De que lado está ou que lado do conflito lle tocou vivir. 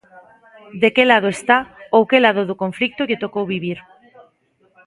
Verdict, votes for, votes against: accepted, 4, 0